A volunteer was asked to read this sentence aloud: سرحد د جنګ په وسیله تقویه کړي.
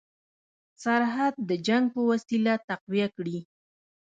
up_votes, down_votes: 1, 2